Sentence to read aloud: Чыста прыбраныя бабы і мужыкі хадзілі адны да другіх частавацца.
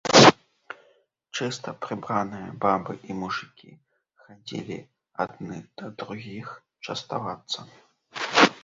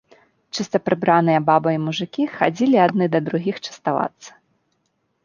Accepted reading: second